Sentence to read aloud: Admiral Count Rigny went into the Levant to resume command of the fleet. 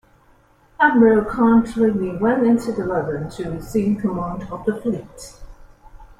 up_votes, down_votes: 0, 2